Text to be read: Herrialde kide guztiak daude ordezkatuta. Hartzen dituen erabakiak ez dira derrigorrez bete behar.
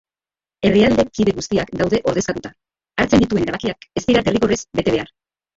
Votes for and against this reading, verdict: 0, 2, rejected